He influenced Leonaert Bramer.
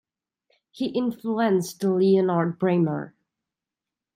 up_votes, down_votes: 1, 2